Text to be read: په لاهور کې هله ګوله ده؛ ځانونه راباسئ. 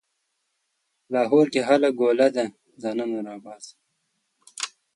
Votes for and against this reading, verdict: 2, 0, accepted